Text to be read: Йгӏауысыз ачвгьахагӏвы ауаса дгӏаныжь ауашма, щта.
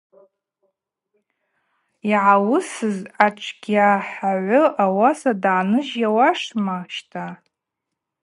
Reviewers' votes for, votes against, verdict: 2, 0, accepted